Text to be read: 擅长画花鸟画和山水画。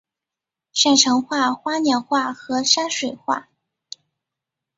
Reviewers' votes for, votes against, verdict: 3, 0, accepted